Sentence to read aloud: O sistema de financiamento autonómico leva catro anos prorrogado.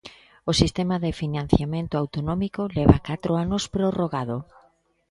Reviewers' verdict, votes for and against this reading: accepted, 2, 1